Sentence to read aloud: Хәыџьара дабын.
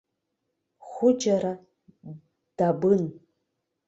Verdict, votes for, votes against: rejected, 0, 2